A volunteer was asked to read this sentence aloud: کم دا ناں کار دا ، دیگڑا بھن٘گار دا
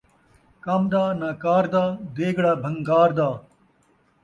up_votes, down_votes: 2, 0